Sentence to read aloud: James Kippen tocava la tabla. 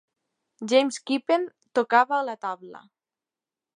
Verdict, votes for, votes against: accepted, 2, 0